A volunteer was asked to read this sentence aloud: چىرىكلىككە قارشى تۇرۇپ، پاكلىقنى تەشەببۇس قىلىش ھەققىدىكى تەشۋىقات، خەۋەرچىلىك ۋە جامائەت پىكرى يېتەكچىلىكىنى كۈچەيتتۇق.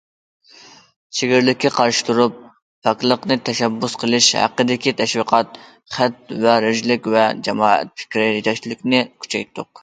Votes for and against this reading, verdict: 0, 2, rejected